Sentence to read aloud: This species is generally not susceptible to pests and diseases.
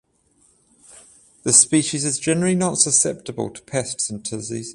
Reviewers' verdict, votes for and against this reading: accepted, 14, 0